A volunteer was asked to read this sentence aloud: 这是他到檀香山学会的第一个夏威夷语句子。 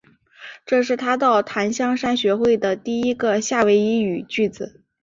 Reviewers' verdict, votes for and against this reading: accepted, 3, 0